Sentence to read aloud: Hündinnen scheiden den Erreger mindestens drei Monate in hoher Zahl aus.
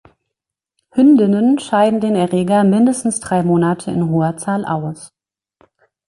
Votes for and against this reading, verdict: 2, 0, accepted